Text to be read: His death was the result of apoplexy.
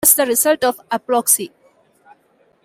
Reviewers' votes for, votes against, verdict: 1, 2, rejected